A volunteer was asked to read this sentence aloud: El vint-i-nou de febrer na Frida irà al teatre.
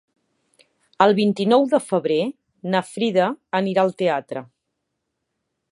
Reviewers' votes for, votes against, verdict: 1, 3, rejected